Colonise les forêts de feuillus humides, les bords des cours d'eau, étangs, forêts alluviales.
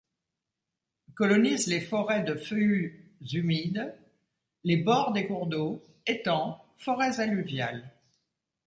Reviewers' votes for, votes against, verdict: 1, 2, rejected